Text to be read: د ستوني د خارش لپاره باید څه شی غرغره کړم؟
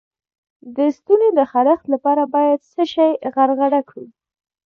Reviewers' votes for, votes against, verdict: 2, 0, accepted